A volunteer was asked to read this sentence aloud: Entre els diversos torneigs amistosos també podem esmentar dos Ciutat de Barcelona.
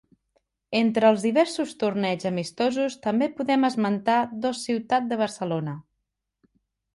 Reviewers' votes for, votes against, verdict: 3, 0, accepted